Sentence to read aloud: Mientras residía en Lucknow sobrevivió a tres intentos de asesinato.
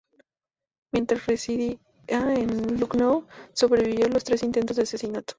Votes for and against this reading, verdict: 0, 2, rejected